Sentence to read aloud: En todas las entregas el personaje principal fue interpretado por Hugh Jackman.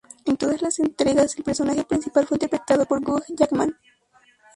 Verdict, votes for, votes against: rejected, 0, 2